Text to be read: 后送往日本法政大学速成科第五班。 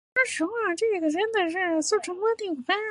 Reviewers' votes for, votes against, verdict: 1, 3, rejected